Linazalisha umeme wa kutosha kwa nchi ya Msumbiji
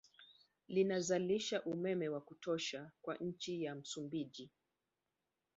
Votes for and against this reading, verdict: 1, 2, rejected